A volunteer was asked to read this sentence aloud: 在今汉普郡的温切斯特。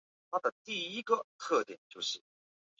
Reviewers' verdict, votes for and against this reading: rejected, 1, 2